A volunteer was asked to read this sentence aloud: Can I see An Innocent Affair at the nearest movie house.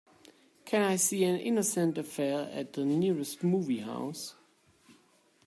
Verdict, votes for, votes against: accepted, 2, 0